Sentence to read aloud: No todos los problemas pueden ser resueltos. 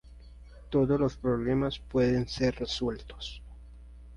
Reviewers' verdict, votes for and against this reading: rejected, 0, 2